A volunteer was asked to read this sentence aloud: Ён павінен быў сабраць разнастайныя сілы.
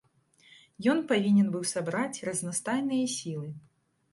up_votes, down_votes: 2, 0